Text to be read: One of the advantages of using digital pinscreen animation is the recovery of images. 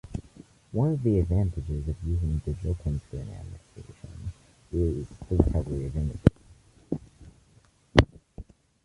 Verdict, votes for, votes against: rejected, 0, 2